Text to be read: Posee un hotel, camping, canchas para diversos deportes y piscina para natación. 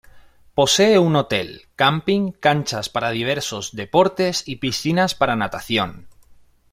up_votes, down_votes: 1, 2